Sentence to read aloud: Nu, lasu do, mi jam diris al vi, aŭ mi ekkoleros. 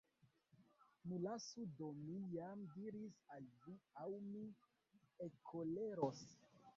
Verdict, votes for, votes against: rejected, 0, 2